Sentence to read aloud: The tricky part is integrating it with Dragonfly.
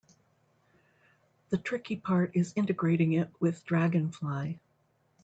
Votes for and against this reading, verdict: 2, 0, accepted